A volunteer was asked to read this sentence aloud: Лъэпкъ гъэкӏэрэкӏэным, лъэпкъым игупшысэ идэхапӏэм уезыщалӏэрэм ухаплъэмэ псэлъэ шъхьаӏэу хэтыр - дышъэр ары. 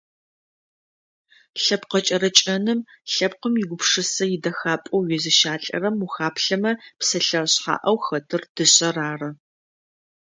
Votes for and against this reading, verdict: 2, 0, accepted